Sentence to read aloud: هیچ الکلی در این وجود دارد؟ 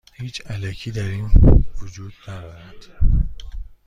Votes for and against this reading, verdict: 1, 2, rejected